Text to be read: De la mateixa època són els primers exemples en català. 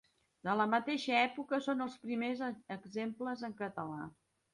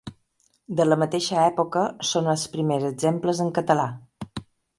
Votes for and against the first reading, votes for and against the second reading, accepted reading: 0, 2, 3, 0, second